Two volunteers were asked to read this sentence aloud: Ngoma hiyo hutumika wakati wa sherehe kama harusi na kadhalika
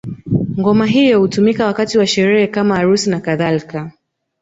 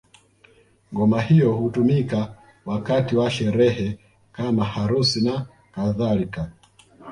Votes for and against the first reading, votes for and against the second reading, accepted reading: 0, 2, 2, 0, second